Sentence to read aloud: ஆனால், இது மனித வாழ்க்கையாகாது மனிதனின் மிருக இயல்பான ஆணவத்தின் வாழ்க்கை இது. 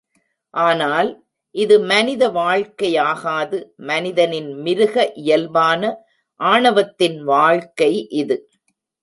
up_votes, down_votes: 2, 0